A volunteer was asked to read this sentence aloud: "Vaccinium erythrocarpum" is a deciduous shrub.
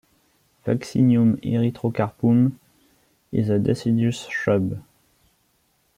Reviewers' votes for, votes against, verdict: 2, 1, accepted